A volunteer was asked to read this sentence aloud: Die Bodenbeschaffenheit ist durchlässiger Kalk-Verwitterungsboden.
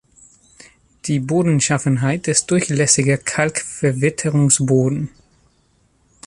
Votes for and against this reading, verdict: 0, 2, rejected